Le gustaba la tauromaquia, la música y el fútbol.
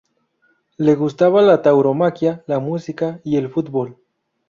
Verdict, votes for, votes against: accepted, 2, 0